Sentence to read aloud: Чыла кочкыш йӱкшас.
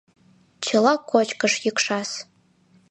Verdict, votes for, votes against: accepted, 2, 0